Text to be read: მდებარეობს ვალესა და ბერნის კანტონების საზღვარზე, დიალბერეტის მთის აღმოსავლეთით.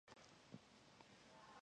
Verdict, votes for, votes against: rejected, 1, 2